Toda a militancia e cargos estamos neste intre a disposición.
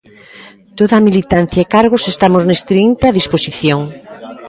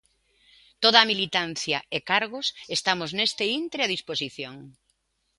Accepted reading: second